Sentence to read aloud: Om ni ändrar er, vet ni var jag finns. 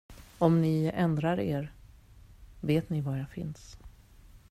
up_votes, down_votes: 2, 0